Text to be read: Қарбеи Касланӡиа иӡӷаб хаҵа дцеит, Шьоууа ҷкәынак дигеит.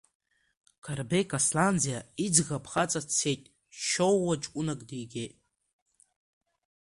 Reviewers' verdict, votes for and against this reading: accepted, 2, 0